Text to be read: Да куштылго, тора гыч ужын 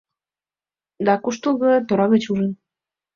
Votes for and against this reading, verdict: 2, 0, accepted